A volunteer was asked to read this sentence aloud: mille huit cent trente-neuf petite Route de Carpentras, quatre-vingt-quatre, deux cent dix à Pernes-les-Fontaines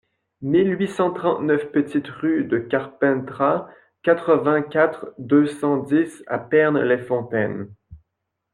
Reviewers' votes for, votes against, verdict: 0, 2, rejected